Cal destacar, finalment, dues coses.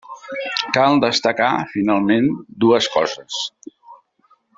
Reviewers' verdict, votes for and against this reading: accepted, 3, 0